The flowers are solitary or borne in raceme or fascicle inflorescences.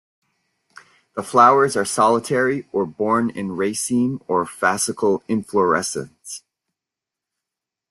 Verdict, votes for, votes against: accepted, 3, 0